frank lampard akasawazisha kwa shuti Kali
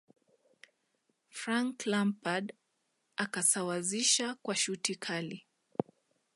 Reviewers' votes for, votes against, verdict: 2, 0, accepted